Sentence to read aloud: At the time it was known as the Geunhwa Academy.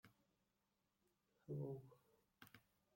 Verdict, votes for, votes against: rejected, 0, 2